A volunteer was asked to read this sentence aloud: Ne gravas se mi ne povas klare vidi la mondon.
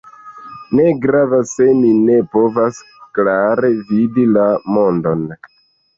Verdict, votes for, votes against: rejected, 0, 2